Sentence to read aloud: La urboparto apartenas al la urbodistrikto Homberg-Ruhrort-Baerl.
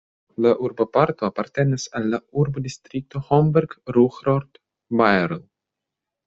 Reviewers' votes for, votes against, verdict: 1, 2, rejected